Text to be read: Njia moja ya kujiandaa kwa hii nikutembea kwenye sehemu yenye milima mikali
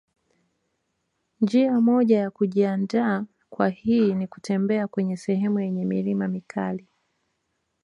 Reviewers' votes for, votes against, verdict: 2, 0, accepted